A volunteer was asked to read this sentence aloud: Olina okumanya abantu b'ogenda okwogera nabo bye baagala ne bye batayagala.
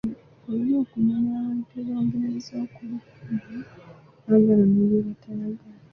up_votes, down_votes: 0, 2